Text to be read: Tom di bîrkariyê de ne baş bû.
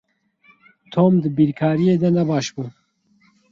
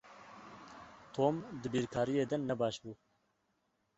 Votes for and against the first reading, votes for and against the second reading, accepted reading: 2, 2, 2, 0, second